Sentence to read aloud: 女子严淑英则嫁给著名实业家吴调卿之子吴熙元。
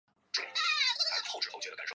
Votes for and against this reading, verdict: 0, 2, rejected